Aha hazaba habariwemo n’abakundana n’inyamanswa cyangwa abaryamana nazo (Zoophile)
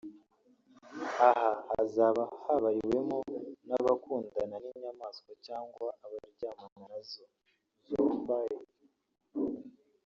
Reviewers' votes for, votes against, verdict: 0, 2, rejected